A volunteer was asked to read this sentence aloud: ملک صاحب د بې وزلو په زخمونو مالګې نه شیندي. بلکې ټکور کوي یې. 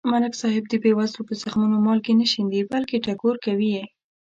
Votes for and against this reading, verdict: 2, 0, accepted